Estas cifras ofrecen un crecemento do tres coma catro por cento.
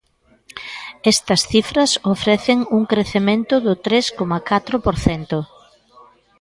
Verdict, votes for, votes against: accepted, 2, 0